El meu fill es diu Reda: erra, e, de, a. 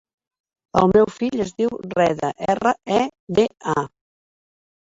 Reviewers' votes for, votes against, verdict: 1, 2, rejected